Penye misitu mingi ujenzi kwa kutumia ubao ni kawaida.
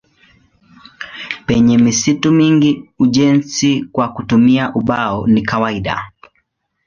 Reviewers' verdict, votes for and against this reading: accepted, 2, 0